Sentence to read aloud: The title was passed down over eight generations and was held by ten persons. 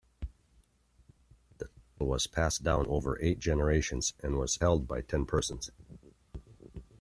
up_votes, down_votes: 1, 2